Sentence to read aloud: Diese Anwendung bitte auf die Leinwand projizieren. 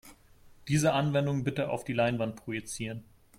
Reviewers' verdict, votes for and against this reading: accepted, 2, 0